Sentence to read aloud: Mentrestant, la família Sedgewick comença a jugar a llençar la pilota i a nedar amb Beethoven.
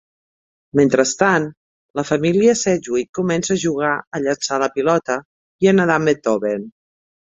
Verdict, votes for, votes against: accepted, 3, 0